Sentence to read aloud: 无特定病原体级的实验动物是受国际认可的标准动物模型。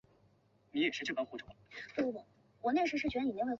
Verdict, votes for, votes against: rejected, 0, 2